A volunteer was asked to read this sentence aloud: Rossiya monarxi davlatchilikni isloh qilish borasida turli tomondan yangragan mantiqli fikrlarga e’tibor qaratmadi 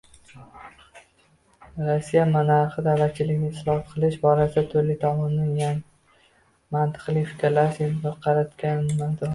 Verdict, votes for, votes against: rejected, 0, 2